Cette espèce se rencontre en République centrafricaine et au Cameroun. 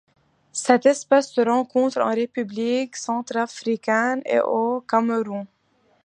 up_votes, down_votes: 2, 0